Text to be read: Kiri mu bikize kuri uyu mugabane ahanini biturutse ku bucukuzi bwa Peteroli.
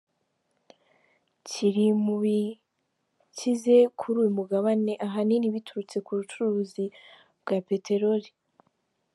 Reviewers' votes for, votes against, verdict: 1, 2, rejected